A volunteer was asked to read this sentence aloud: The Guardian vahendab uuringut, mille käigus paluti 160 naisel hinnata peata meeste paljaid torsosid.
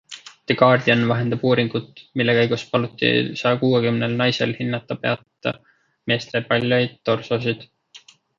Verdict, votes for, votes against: rejected, 0, 2